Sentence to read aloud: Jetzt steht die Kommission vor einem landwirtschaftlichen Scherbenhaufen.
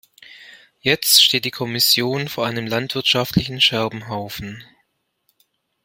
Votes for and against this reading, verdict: 2, 0, accepted